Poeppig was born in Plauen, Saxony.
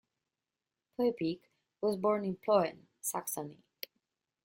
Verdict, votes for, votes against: accepted, 2, 1